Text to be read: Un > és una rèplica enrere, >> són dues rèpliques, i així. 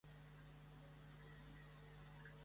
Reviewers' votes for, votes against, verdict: 0, 2, rejected